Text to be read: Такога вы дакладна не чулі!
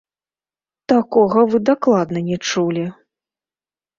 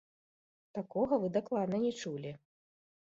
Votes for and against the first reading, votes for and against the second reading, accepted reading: 1, 2, 2, 0, second